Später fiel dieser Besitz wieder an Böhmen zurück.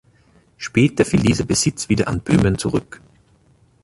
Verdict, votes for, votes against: rejected, 1, 2